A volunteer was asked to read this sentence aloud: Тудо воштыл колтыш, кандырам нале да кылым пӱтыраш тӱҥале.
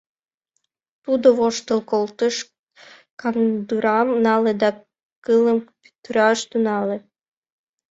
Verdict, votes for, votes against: rejected, 1, 2